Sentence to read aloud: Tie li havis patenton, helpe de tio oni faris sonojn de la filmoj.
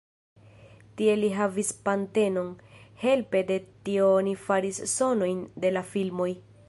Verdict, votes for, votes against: accepted, 2, 1